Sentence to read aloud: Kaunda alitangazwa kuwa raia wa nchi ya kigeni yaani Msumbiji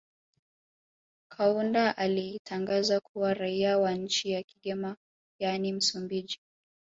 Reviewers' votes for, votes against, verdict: 2, 3, rejected